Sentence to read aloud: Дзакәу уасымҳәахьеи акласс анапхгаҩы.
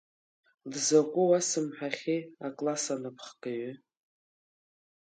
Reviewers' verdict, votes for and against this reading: accepted, 4, 0